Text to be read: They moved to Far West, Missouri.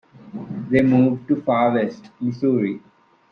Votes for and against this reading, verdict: 2, 0, accepted